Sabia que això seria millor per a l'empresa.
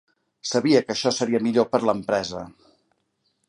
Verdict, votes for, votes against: rejected, 1, 2